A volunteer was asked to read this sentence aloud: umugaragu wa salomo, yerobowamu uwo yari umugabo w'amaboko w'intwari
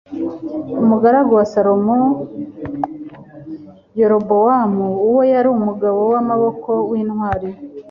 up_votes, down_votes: 2, 0